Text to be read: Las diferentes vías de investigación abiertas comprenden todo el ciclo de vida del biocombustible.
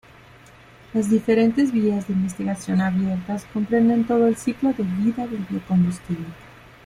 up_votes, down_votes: 2, 1